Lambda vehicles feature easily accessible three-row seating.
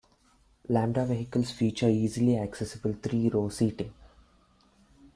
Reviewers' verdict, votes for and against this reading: accepted, 2, 0